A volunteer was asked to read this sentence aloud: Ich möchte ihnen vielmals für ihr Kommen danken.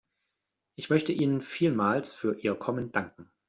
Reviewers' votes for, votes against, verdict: 2, 0, accepted